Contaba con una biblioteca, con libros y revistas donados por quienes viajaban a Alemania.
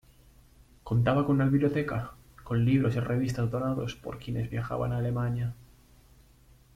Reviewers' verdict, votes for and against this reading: rejected, 0, 2